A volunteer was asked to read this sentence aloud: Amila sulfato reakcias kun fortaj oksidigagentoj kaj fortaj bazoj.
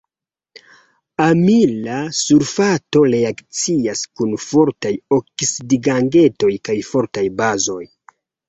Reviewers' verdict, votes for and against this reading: rejected, 1, 2